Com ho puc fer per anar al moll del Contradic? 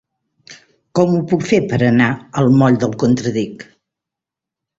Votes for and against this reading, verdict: 3, 0, accepted